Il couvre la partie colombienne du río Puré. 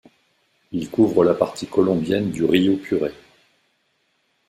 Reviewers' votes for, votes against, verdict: 2, 0, accepted